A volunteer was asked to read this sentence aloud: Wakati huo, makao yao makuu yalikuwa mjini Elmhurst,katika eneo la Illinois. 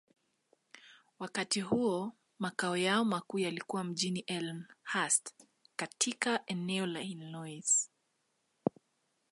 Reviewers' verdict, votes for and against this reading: accepted, 2, 0